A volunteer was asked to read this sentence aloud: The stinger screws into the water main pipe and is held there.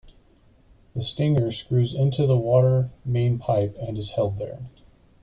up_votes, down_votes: 2, 0